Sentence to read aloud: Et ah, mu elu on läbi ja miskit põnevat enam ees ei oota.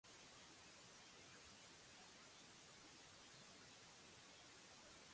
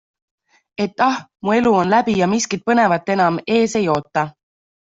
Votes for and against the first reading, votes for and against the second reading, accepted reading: 0, 2, 2, 0, second